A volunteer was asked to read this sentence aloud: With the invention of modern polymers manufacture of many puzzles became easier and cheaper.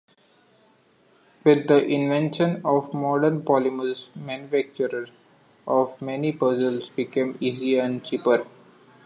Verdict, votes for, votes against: accepted, 2, 1